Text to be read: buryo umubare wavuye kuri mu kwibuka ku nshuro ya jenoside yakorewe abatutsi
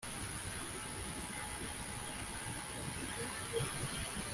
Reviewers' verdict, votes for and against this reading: rejected, 0, 2